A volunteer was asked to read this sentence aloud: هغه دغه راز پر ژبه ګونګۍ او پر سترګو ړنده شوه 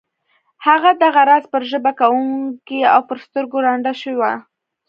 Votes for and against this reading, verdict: 2, 1, accepted